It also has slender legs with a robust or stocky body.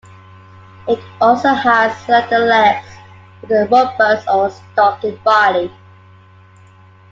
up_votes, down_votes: 2, 0